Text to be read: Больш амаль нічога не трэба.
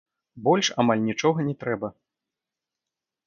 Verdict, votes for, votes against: rejected, 1, 2